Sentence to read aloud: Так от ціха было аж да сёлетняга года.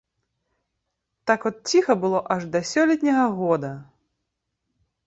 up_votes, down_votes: 2, 0